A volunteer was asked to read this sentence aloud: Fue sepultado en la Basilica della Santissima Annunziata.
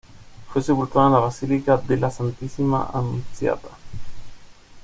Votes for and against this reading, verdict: 2, 0, accepted